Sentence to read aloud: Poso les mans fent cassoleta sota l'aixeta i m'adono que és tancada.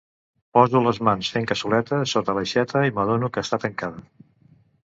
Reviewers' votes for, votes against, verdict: 0, 2, rejected